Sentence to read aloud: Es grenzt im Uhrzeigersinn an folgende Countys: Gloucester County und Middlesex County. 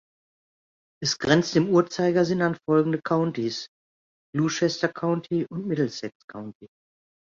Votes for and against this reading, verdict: 1, 2, rejected